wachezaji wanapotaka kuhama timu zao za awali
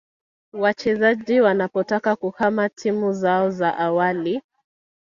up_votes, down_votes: 0, 2